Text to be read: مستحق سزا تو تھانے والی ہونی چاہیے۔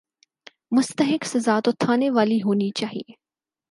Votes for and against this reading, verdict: 6, 0, accepted